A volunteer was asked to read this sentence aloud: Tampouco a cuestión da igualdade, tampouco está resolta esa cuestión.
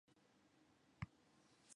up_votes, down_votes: 0, 2